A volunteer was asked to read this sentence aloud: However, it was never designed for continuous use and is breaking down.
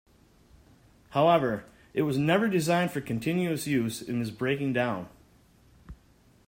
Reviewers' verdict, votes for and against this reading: accepted, 2, 0